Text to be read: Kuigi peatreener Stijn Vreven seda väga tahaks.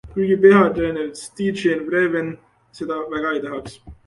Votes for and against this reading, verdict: 1, 2, rejected